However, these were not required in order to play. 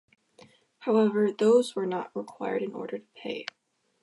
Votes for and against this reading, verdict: 2, 1, accepted